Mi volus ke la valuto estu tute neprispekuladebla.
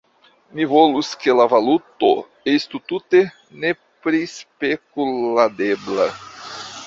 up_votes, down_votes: 2, 1